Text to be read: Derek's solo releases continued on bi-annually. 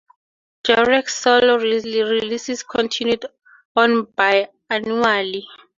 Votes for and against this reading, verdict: 0, 2, rejected